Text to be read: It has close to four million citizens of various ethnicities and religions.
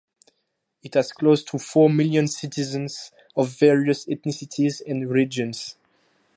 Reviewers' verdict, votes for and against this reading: accepted, 2, 0